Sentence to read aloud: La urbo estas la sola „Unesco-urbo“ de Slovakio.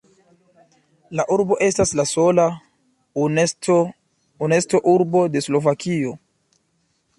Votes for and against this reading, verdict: 0, 2, rejected